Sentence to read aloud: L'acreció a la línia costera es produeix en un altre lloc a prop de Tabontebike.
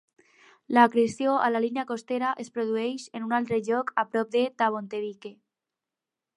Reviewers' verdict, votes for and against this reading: accepted, 6, 0